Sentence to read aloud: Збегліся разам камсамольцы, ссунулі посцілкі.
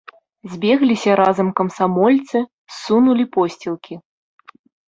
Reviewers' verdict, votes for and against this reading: accepted, 2, 0